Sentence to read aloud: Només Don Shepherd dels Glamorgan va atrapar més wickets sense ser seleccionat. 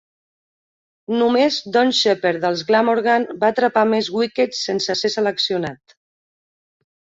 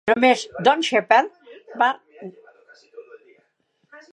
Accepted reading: first